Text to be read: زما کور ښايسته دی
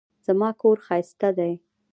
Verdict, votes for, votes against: rejected, 0, 2